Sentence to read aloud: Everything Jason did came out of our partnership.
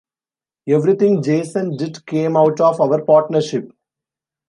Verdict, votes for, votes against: accepted, 2, 0